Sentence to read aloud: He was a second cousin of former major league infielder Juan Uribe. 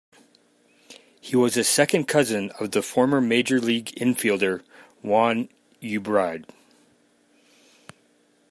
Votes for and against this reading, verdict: 0, 2, rejected